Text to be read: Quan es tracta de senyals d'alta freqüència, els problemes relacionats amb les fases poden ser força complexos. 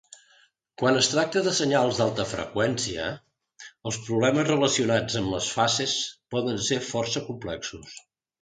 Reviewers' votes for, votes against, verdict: 2, 1, accepted